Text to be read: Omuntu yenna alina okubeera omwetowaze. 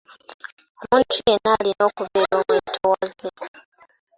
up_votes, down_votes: 2, 1